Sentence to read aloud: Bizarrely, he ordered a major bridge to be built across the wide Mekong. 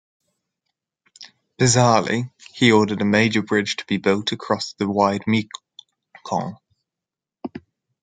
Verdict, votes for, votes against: rejected, 1, 2